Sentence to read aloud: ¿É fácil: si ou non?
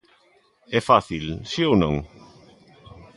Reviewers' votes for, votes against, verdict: 2, 0, accepted